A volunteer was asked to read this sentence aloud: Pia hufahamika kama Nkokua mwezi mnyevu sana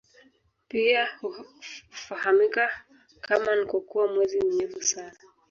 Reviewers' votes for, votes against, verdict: 1, 2, rejected